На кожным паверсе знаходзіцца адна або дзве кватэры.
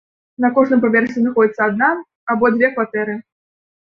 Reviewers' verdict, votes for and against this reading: rejected, 1, 2